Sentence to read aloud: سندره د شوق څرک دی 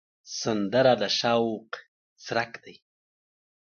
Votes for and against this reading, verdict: 2, 1, accepted